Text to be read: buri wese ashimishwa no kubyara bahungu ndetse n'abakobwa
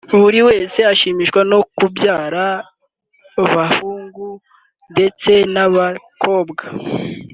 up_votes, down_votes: 2, 0